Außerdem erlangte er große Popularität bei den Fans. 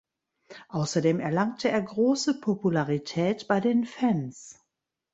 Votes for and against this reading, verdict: 0, 2, rejected